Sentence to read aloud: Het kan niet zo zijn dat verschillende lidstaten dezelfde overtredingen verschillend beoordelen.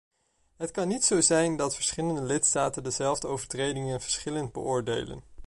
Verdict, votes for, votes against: accepted, 2, 0